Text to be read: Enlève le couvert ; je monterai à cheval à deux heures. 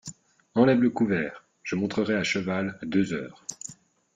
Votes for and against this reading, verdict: 1, 2, rejected